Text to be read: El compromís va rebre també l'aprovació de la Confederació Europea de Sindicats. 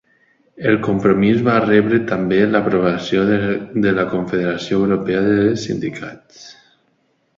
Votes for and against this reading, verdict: 1, 2, rejected